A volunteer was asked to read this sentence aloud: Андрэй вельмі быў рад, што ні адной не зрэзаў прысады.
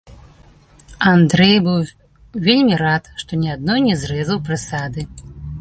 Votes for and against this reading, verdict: 1, 2, rejected